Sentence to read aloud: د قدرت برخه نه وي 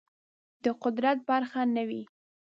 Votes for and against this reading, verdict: 2, 0, accepted